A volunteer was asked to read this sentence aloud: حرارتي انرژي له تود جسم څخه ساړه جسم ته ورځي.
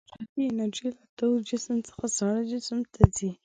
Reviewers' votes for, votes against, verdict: 0, 2, rejected